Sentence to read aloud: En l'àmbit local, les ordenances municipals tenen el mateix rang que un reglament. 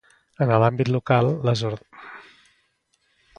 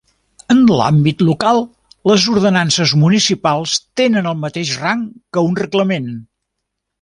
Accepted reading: second